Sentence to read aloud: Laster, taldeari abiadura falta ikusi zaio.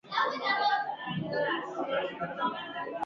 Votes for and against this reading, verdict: 0, 4, rejected